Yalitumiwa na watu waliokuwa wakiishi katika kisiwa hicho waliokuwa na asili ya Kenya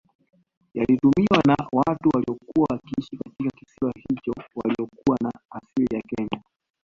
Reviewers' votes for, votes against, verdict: 2, 0, accepted